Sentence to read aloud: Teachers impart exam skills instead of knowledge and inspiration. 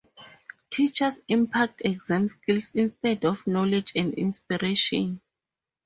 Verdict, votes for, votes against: rejected, 2, 2